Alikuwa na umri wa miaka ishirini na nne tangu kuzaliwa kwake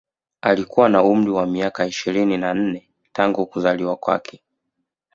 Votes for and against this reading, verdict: 2, 0, accepted